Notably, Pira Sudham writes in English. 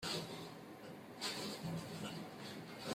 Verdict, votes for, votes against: rejected, 0, 6